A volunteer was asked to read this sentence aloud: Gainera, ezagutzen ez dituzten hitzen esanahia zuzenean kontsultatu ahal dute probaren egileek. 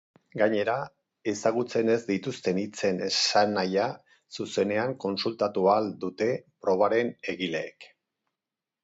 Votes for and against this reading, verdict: 4, 0, accepted